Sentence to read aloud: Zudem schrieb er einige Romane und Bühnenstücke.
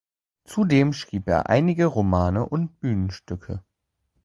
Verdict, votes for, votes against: accepted, 2, 0